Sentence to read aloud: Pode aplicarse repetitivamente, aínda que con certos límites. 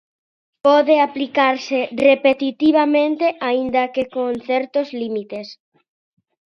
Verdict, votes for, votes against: accepted, 2, 0